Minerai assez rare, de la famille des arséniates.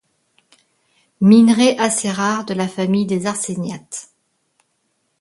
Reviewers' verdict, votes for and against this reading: accepted, 2, 0